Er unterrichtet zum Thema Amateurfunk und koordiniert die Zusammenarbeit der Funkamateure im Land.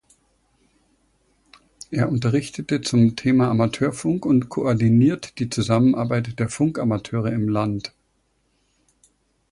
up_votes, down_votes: 1, 2